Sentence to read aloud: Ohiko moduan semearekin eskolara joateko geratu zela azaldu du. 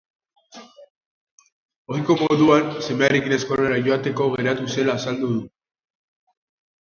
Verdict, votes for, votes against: rejected, 0, 2